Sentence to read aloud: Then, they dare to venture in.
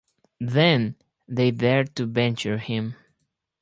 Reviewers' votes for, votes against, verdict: 2, 2, rejected